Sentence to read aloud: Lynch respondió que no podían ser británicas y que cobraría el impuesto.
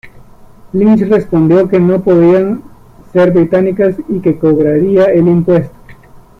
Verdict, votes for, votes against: accepted, 2, 0